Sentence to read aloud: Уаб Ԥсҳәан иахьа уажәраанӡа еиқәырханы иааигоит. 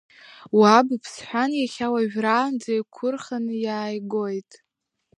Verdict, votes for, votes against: rejected, 1, 2